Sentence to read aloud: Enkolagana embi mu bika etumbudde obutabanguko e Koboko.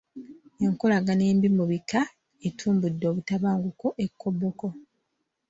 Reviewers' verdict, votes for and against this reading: accepted, 2, 1